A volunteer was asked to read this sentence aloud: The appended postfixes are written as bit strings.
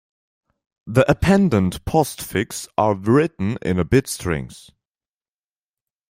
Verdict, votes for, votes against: rejected, 0, 2